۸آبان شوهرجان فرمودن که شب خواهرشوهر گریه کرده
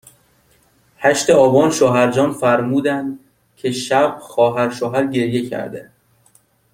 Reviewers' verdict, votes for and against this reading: rejected, 0, 2